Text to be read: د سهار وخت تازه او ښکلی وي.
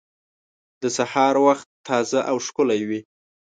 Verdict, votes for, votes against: accepted, 2, 0